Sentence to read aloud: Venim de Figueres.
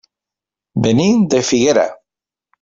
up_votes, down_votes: 0, 2